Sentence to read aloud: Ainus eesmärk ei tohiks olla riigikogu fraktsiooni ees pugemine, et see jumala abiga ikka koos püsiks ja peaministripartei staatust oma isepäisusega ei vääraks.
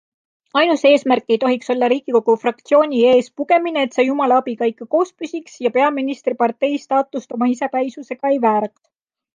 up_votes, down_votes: 2, 0